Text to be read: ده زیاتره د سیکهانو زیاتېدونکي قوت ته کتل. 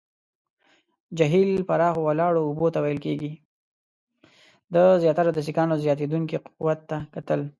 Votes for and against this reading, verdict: 1, 2, rejected